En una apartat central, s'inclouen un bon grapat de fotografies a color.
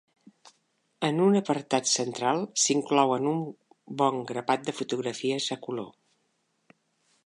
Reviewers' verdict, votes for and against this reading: accepted, 2, 0